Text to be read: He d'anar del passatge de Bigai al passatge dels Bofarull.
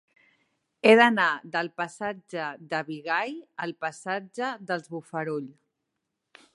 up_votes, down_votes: 3, 0